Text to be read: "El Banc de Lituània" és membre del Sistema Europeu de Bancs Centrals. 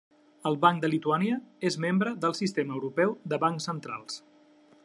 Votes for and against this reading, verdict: 3, 0, accepted